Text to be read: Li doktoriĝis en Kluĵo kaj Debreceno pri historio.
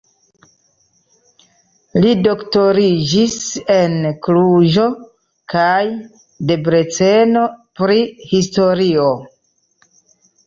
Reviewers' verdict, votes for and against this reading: accepted, 3, 0